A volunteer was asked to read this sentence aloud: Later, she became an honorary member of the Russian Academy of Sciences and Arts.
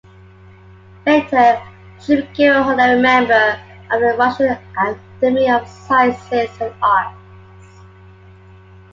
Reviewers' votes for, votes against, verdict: 2, 1, accepted